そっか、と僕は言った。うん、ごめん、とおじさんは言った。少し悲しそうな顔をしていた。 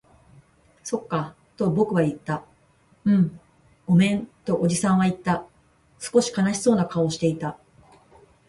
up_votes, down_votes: 2, 0